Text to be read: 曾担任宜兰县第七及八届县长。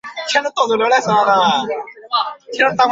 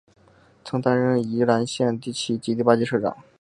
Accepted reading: second